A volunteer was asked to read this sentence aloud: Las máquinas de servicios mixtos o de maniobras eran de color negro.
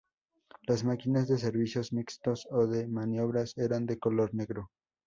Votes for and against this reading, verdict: 0, 2, rejected